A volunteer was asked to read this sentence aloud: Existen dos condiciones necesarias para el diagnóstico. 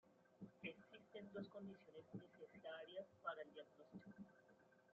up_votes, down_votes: 0, 2